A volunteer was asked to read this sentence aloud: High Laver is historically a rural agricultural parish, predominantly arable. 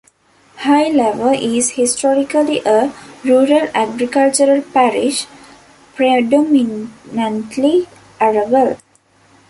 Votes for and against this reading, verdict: 0, 2, rejected